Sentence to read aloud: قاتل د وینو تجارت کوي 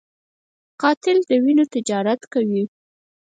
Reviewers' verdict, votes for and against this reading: rejected, 4, 6